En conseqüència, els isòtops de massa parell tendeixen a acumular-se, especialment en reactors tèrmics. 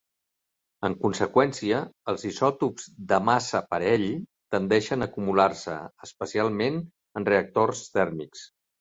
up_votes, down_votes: 3, 0